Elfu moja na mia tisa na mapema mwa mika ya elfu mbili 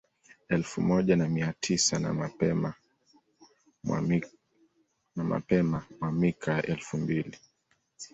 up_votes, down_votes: 1, 2